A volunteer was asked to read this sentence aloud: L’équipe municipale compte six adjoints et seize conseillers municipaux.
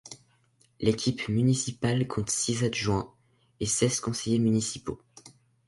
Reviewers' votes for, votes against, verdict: 2, 0, accepted